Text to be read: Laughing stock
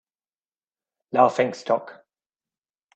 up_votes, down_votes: 2, 0